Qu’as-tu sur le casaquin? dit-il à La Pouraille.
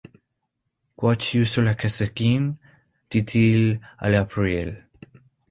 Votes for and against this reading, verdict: 0, 2, rejected